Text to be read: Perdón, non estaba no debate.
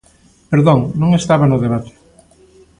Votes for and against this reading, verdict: 2, 0, accepted